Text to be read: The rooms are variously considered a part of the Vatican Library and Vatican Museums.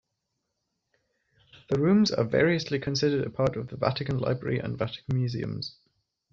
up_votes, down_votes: 2, 0